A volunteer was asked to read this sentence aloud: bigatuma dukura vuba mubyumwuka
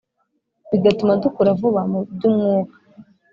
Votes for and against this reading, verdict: 2, 0, accepted